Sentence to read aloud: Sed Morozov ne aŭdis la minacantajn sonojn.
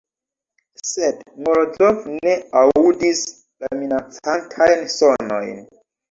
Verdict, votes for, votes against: rejected, 1, 2